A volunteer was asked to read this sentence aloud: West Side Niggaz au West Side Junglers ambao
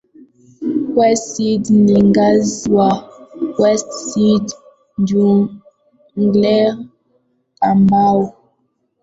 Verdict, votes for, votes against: rejected, 0, 2